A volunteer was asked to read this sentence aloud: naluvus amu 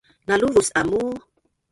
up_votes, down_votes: 1, 2